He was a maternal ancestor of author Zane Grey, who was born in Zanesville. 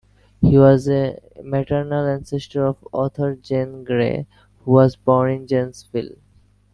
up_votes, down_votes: 0, 2